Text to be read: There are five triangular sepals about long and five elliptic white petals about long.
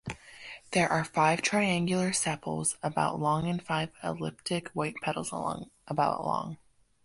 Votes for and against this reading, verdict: 0, 2, rejected